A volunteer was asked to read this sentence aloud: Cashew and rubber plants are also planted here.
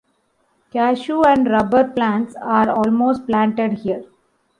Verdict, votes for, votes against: rejected, 0, 2